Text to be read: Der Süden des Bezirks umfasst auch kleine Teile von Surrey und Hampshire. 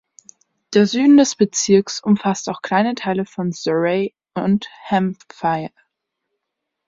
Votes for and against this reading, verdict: 0, 2, rejected